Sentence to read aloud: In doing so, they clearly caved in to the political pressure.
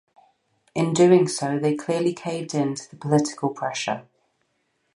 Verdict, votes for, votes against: accepted, 4, 0